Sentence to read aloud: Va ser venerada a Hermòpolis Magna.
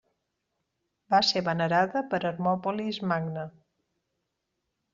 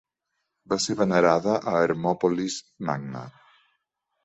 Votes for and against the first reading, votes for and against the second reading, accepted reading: 1, 2, 3, 0, second